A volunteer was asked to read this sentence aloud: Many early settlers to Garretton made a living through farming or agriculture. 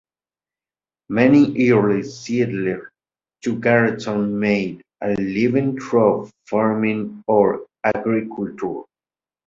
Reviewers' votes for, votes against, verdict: 1, 2, rejected